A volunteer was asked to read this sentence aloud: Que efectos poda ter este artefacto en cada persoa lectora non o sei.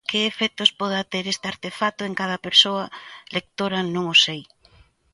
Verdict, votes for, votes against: accepted, 2, 0